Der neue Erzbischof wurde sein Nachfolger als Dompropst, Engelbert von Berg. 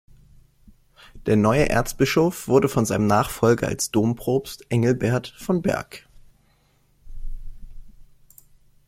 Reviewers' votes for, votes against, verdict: 0, 2, rejected